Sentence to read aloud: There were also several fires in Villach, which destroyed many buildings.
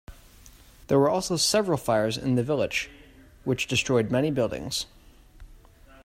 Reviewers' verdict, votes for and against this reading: rejected, 0, 2